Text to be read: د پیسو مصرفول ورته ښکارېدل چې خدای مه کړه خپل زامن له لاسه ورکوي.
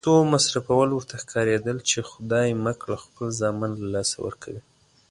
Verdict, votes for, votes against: accepted, 2, 0